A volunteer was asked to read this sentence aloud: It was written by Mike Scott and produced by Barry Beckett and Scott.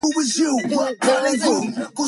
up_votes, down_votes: 0, 2